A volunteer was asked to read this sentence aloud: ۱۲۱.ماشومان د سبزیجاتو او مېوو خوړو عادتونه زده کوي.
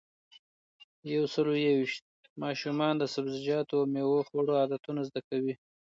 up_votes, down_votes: 0, 2